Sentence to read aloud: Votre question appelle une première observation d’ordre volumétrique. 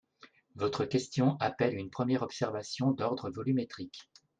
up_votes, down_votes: 2, 0